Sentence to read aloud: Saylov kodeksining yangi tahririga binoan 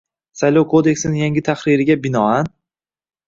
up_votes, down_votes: 2, 0